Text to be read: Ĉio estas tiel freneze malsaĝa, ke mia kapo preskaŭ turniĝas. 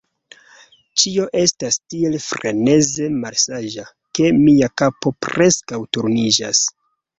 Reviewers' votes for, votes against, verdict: 2, 0, accepted